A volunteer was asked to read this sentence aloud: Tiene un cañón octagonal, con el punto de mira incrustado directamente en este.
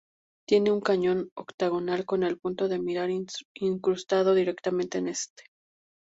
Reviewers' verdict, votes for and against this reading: rejected, 2, 4